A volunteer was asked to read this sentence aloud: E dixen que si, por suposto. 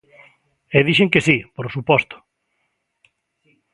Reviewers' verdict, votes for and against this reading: accepted, 2, 0